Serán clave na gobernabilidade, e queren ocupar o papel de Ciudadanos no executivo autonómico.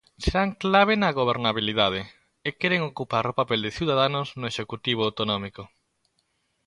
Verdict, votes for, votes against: accepted, 2, 0